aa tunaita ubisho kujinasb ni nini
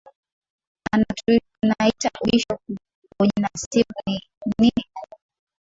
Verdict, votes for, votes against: rejected, 6, 7